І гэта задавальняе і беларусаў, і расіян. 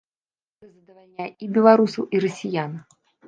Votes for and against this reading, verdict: 1, 2, rejected